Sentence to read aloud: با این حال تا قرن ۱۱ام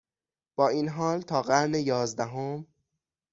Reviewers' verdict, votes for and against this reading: rejected, 0, 2